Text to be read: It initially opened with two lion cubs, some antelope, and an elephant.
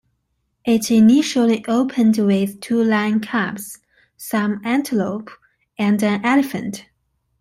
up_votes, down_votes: 2, 0